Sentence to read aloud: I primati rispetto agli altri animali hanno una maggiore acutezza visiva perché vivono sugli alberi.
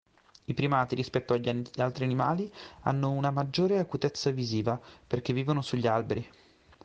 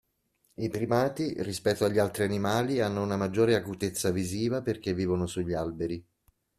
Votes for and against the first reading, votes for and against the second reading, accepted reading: 1, 2, 2, 0, second